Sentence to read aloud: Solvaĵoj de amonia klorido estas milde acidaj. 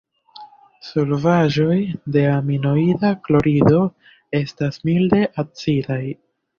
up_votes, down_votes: 1, 2